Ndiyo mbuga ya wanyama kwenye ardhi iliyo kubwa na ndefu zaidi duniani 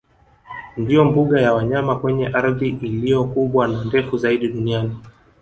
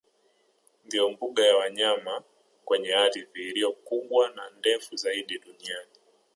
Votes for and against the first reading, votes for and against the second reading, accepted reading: 1, 2, 2, 0, second